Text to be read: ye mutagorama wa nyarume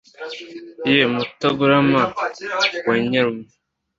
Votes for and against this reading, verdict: 2, 0, accepted